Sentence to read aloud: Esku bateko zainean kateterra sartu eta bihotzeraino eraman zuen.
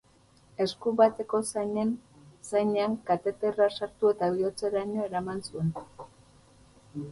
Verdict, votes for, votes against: rejected, 0, 6